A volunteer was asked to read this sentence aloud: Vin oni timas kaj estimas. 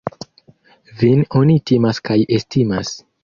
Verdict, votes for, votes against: accepted, 2, 0